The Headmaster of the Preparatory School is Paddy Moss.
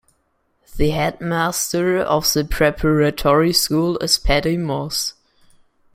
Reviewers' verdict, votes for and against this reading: accepted, 2, 0